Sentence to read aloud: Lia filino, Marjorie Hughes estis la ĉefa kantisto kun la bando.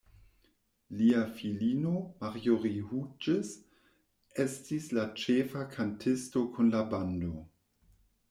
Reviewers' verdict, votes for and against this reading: rejected, 1, 2